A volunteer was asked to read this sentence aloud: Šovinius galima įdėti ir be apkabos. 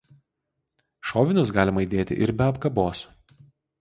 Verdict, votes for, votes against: accepted, 2, 0